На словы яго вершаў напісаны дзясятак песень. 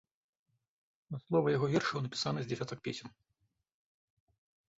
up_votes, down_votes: 0, 2